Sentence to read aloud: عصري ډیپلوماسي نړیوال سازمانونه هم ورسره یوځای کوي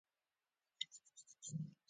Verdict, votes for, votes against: rejected, 0, 2